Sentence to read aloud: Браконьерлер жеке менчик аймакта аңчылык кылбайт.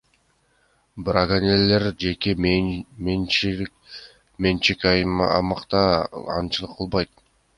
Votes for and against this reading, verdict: 1, 2, rejected